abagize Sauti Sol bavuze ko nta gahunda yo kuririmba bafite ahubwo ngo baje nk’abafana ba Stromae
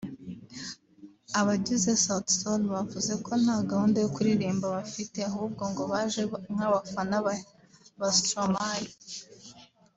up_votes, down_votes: 1, 2